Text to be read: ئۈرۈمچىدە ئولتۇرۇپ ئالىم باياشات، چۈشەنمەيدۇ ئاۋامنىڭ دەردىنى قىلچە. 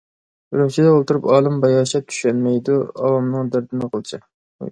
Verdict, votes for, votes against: rejected, 1, 2